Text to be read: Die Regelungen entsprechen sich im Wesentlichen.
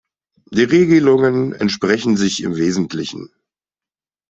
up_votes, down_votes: 2, 0